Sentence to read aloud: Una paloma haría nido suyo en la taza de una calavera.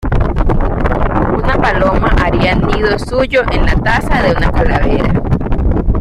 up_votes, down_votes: 2, 0